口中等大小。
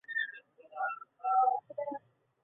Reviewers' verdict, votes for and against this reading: rejected, 0, 2